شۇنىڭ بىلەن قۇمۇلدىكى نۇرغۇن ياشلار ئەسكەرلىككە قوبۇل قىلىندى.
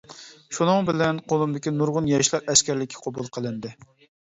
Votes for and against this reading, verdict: 2, 1, accepted